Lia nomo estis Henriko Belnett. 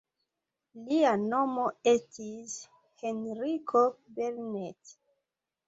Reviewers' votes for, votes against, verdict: 2, 1, accepted